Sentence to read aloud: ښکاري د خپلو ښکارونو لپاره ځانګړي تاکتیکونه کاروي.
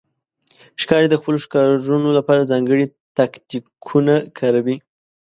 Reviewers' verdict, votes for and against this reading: accepted, 2, 0